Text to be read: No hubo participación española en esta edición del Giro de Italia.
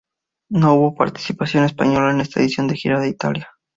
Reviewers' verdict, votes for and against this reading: rejected, 0, 2